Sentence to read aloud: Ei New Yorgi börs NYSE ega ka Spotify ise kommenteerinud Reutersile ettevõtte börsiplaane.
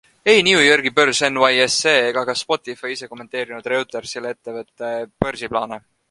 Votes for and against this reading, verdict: 3, 0, accepted